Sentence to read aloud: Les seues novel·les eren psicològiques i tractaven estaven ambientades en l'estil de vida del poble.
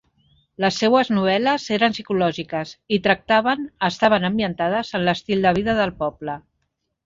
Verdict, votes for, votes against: accepted, 3, 0